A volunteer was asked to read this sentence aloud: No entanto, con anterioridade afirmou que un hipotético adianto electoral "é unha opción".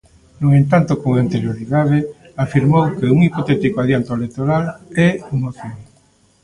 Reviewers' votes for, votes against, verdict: 2, 1, accepted